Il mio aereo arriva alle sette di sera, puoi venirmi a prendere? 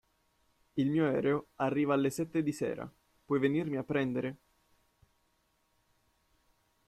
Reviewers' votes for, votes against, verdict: 2, 0, accepted